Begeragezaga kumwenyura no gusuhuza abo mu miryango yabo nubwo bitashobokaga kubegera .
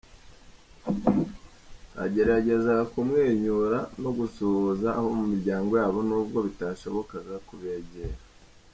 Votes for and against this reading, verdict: 0, 2, rejected